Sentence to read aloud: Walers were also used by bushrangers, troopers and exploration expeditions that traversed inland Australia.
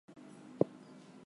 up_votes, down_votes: 0, 2